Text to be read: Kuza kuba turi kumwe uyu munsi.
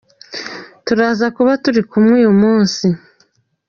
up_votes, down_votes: 0, 2